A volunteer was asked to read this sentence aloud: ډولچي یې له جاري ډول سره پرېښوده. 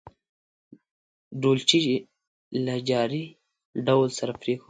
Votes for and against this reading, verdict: 2, 0, accepted